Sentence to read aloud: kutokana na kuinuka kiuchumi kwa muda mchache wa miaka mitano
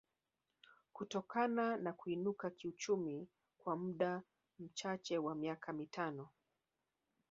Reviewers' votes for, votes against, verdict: 2, 4, rejected